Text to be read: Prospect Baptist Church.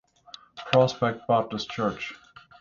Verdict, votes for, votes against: accepted, 6, 0